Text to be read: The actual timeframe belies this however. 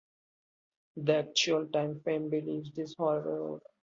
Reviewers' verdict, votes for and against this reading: rejected, 0, 3